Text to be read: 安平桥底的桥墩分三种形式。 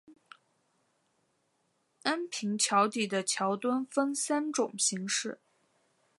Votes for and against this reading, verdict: 0, 2, rejected